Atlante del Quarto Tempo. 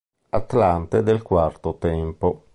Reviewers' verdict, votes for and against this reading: accepted, 3, 0